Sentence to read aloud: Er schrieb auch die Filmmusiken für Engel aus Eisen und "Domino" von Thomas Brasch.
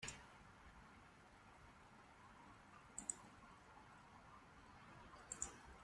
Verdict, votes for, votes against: rejected, 0, 2